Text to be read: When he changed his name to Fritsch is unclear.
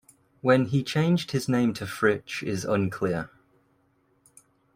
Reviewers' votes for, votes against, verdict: 2, 0, accepted